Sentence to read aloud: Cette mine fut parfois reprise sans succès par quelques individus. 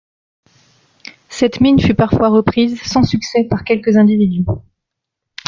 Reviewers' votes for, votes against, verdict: 1, 2, rejected